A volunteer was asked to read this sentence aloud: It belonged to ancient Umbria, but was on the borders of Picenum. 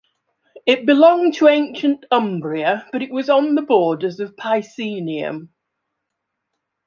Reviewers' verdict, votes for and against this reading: rejected, 1, 2